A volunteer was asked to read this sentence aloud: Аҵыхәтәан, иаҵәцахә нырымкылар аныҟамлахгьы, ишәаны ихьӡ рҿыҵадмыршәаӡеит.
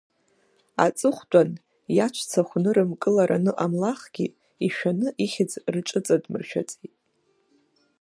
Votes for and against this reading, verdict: 2, 1, accepted